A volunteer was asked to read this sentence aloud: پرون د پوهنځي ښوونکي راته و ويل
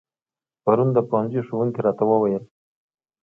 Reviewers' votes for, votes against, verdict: 2, 0, accepted